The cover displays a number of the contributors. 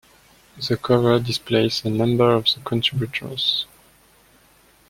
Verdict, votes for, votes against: rejected, 0, 2